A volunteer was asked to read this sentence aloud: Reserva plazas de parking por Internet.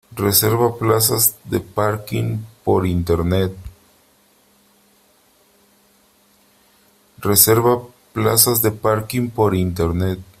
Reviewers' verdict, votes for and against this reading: rejected, 1, 3